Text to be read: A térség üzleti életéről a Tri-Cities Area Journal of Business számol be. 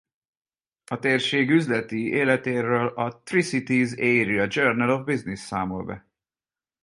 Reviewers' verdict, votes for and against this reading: accepted, 8, 0